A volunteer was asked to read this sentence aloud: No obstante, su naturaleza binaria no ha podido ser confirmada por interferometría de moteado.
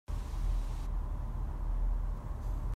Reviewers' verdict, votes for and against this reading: rejected, 0, 2